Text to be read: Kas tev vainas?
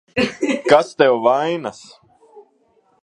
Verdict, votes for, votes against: rejected, 0, 4